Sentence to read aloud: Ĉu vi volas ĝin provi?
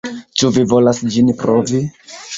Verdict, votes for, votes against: accepted, 2, 0